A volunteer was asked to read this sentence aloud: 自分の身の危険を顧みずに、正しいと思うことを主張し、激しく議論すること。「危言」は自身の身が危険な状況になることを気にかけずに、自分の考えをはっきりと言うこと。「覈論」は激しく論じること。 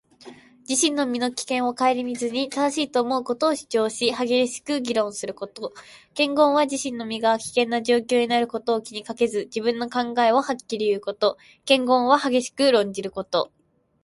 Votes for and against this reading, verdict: 2, 1, accepted